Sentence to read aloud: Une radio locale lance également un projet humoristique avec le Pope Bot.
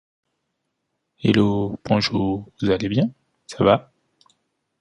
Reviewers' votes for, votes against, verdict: 0, 2, rejected